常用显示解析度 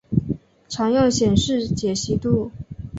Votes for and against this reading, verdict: 2, 0, accepted